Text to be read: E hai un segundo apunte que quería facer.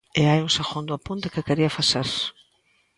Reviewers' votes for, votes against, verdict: 2, 0, accepted